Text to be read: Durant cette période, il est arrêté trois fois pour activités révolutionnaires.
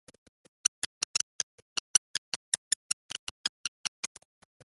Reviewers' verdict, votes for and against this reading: rejected, 0, 2